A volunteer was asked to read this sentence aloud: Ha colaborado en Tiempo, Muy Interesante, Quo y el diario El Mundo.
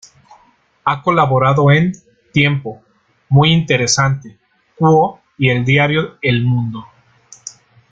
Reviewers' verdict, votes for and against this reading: rejected, 1, 2